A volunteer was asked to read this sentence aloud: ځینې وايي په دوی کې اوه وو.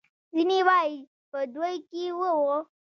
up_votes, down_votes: 2, 0